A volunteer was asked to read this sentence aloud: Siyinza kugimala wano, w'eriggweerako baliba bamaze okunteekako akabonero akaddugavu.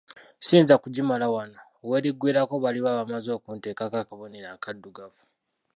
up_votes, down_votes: 0, 2